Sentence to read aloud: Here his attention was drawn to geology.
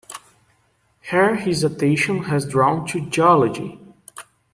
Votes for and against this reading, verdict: 0, 2, rejected